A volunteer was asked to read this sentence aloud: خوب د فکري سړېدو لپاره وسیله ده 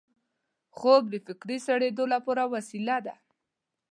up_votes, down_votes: 2, 0